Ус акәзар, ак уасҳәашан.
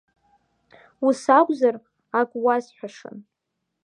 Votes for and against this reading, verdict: 2, 0, accepted